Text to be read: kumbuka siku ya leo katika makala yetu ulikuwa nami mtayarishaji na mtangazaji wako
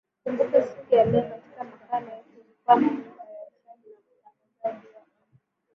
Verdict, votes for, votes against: rejected, 0, 6